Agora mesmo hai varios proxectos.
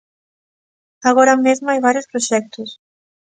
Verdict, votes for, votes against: accepted, 2, 0